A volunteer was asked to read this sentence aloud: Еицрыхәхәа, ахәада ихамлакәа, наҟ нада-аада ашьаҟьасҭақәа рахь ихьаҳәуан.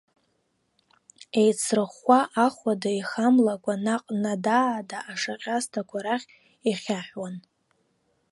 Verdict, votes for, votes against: accepted, 3, 2